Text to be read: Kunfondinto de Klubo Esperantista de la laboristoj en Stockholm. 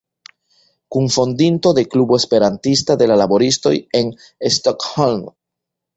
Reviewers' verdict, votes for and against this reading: accepted, 2, 0